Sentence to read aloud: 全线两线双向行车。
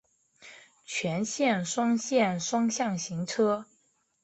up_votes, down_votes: 1, 2